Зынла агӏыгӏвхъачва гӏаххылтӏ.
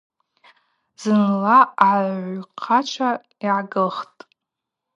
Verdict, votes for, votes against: rejected, 0, 2